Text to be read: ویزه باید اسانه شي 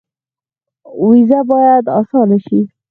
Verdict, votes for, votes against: rejected, 0, 4